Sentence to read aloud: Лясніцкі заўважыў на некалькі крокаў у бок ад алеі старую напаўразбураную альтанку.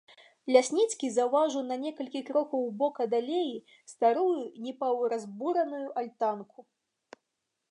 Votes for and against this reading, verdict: 0, 2, rejected